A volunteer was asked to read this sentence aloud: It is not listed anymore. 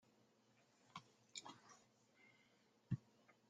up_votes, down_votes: 0, 2